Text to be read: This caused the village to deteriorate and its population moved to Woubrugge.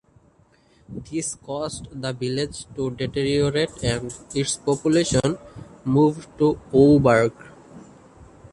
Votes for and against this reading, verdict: 0, 2, rejected